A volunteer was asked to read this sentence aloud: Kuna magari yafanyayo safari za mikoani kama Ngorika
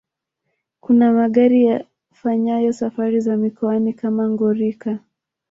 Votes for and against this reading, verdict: 0, 2, rejected